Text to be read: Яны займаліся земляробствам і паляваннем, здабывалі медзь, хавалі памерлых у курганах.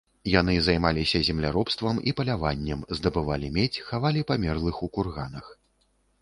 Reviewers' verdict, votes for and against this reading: rejected, 0, 2